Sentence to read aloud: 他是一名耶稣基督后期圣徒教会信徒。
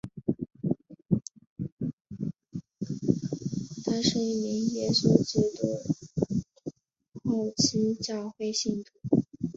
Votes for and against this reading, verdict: 1, 4, rejected